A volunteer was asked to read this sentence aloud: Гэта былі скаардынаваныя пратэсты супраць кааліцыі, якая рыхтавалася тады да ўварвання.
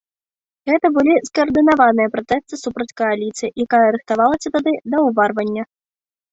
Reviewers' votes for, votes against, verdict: 0, 2, rejected